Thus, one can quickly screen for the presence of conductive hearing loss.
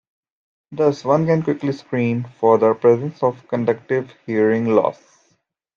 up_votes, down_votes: 2, 0